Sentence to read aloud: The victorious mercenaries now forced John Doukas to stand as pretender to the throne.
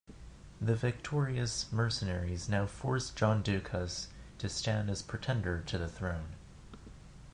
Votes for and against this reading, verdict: 0, 2, rejected